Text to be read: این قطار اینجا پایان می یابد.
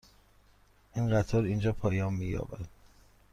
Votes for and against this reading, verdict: 2, 0, accepted